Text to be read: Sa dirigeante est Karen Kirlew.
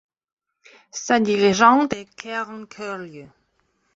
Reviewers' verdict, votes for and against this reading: rejected, 1, 2